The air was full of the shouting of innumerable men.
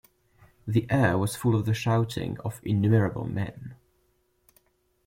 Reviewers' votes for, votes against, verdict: 2, 0, accepted